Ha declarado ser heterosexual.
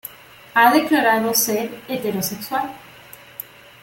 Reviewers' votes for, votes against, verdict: 2, 0, accepted